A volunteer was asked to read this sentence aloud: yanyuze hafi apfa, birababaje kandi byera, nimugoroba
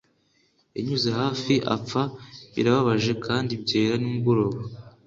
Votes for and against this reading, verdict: 2, 1, accepted